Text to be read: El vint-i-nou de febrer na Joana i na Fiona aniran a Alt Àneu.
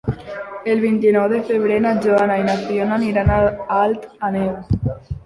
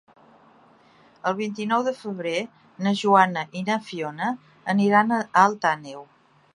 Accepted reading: second